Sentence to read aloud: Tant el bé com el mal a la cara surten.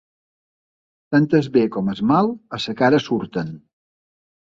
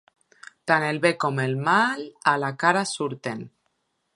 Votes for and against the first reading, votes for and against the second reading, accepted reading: 1, 2, 2, 0, second